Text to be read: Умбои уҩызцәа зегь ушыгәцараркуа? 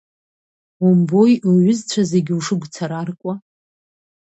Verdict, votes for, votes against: accepted, 2, 1